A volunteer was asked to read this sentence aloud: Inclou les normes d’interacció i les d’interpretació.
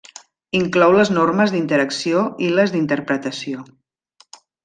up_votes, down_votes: 3, 0